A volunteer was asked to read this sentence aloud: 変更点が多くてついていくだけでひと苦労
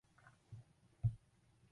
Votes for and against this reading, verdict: 0, 4, rejected